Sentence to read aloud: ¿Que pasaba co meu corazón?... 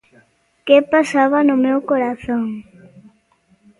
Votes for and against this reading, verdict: 1, 2, rejected